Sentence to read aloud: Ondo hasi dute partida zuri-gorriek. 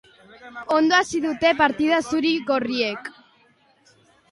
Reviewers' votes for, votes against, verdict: 2, 0, accepted